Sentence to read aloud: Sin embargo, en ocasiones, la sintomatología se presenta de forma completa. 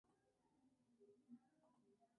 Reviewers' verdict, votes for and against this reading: rejected, 0, 2